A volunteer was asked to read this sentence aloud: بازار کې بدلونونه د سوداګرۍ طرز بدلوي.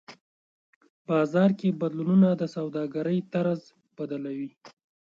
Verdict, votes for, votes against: accepted, 2, 0